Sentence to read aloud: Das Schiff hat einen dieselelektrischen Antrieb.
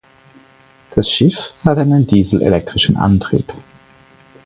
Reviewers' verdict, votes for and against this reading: accepted, 4, 0